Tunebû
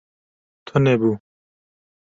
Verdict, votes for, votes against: accepted, 2, 0